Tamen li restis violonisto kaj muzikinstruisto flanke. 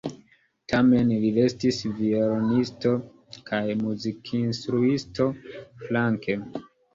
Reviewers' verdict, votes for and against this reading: accepted, 2, 0